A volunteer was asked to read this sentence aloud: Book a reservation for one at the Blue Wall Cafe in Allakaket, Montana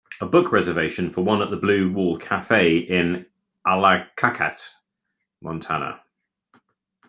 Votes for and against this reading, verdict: 2, 1, accepted